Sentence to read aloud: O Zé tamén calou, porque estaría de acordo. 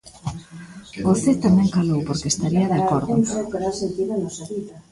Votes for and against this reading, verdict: 0, 2, rejected